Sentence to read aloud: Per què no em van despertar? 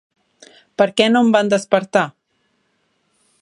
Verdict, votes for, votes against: accepted, 4, 0